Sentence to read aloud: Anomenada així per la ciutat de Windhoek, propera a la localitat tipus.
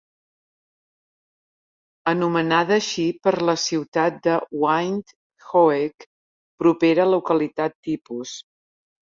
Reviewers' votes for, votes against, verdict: 1, 2, rejected